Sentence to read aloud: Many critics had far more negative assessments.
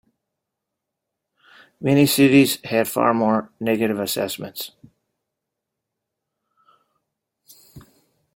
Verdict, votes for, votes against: rejected, 0, 2